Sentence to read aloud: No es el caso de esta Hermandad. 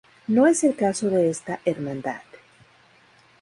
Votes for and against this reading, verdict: 2, 2, rejected